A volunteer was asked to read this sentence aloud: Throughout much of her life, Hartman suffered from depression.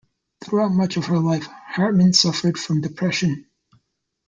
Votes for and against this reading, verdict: 2, 0, accepted